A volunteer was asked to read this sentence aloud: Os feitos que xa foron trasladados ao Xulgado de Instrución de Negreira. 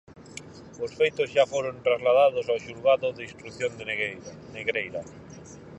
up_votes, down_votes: 0, 4